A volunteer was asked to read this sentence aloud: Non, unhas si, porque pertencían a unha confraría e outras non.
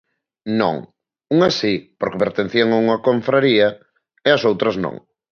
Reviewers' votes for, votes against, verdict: 1, 2, rejected